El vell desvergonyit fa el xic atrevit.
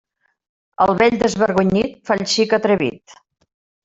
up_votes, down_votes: 1, 2